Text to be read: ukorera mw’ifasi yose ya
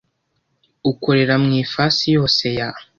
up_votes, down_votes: 2, 0